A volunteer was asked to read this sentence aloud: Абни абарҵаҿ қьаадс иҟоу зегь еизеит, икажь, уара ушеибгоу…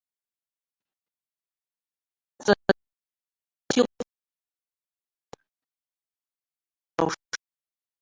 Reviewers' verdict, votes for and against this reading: rejected, 0, 2